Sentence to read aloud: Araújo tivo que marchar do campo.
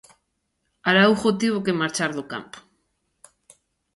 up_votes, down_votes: 2, 0